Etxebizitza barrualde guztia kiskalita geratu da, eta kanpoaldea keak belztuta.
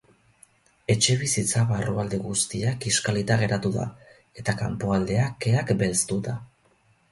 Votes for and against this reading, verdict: 4, 0, accepted